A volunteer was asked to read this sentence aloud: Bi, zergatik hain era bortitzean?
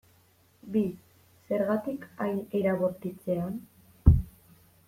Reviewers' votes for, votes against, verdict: 2, 0, accepted